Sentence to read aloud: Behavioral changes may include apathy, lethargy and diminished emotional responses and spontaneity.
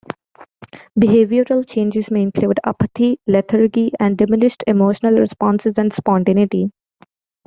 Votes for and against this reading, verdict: 0, 2, rejected